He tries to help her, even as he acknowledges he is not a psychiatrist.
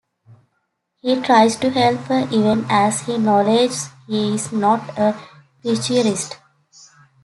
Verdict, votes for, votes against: rejected, 1, 2